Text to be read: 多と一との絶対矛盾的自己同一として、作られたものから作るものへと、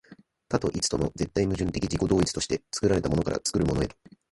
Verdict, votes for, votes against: rejected, 0, 2